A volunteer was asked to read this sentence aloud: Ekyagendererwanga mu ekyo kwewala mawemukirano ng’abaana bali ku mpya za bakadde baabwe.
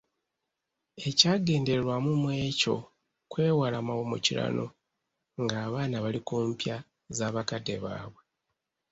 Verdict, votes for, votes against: rejected, 0, 2